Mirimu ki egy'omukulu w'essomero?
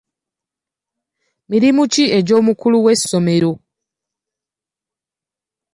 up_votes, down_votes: 2, 0